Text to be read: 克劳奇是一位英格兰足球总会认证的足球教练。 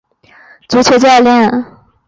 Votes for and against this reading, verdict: 0, 2, rejected